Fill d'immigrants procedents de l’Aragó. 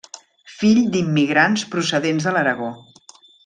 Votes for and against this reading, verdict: 3, 0, accepted